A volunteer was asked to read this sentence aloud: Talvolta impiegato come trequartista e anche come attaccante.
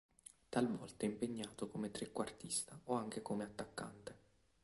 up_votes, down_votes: 0, 2